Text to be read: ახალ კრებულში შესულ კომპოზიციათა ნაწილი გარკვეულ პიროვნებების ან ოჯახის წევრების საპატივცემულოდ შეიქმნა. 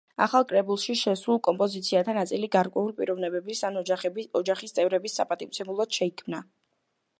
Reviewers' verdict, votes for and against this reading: rejected, 1, 2